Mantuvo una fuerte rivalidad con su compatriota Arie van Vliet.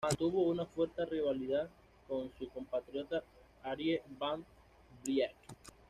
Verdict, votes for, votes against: accepted, 2, 0